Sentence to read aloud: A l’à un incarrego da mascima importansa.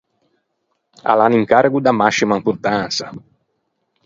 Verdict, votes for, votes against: accepted, 4, 0